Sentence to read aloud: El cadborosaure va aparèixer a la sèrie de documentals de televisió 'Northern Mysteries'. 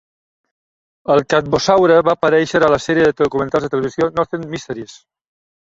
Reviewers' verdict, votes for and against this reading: rejected, 0, 2